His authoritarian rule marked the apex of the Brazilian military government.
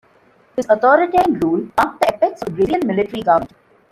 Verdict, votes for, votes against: rejected, 1, 3